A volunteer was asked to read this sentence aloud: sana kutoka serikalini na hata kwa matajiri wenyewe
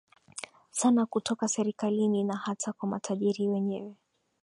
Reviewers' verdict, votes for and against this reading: accepted, 2, 0